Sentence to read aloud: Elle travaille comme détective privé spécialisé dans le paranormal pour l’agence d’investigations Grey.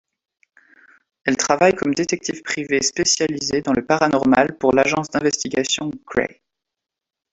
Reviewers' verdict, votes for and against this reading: accepted, 2, 0